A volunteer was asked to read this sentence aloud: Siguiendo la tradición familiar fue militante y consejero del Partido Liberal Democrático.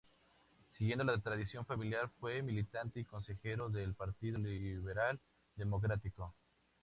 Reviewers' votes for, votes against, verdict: 2, 0, accepted